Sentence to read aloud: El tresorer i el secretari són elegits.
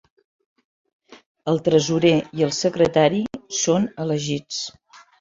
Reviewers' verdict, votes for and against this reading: accepted, 3, 0